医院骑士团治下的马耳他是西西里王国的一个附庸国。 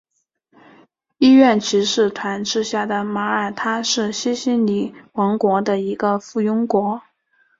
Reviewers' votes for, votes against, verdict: 2, 0, accepted